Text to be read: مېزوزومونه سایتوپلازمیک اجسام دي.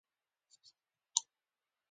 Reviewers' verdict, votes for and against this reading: rejected, 0, 2